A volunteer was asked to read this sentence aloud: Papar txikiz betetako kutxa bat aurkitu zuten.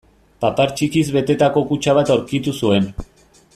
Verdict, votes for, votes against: rejected, 0, 2